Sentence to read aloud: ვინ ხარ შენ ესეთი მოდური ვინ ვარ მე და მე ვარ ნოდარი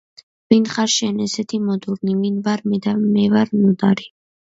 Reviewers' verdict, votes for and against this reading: rejected, 1, 2